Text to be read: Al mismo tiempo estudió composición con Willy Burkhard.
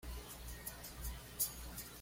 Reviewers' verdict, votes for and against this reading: rejected, 1, 2